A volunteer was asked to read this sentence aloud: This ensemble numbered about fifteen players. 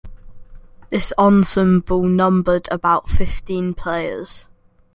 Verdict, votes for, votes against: rejected, 2, 3